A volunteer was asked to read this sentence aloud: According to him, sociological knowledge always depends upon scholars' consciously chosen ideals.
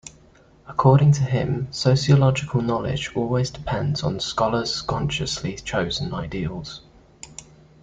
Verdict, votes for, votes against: rejected, 0, 2